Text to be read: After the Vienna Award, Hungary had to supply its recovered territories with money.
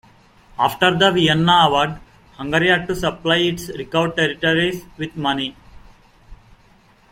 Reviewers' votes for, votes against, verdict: 2, 0, accepted